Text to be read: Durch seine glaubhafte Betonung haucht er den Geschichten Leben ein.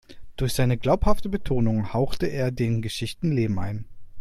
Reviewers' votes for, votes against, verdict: 1, 2, rejected